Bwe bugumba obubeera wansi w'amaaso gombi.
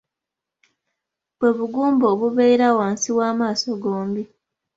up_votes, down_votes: 2, 0